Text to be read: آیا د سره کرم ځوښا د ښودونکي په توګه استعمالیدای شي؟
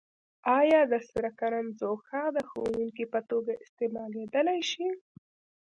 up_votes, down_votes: 2, 0